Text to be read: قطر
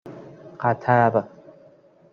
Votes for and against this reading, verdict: 2, 0, accepted